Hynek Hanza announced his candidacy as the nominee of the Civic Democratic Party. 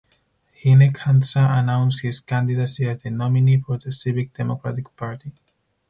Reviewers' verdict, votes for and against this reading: rejected, 2, 4